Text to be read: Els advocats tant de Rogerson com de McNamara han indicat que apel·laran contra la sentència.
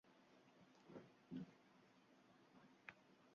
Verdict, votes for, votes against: rejected, 0, 2